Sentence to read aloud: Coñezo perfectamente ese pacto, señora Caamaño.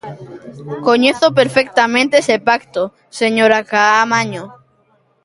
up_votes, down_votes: 0, 2